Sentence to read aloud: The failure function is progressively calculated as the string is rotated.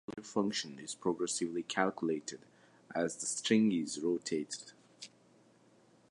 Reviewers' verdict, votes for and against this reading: rejected, 1, 2